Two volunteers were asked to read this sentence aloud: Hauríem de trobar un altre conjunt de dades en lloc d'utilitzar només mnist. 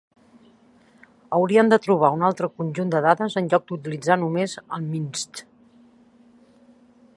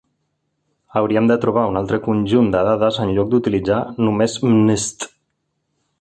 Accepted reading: second